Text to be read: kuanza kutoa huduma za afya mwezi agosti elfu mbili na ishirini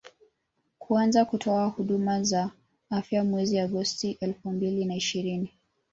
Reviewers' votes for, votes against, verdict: 1, 2, rejected